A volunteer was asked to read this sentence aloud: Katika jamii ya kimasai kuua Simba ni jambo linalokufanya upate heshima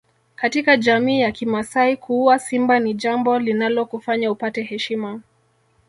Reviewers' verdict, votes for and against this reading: accepted, 3, 1